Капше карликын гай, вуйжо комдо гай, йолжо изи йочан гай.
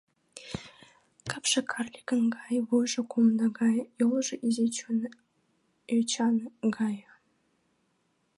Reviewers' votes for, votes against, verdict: 1, 2, rejected